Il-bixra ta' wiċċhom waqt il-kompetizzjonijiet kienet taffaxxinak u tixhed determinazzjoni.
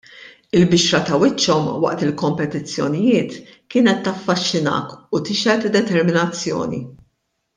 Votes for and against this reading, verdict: 2, 0, accepted